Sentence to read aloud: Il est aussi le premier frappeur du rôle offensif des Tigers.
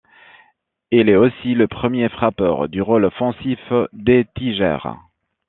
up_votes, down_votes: 3, 2